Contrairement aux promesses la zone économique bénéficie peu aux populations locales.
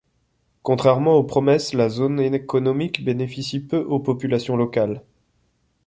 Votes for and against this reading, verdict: 1, 2, rejected